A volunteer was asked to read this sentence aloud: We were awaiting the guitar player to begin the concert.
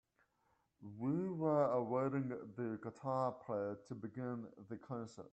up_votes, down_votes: 1, 2